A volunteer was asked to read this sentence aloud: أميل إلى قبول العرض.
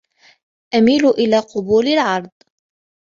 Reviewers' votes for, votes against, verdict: 2, 0, accepted